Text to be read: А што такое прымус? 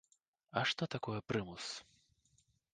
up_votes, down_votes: 1, 2